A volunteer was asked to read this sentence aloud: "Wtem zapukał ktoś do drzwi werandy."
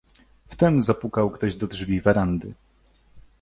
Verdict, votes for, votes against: accepted, 2, 0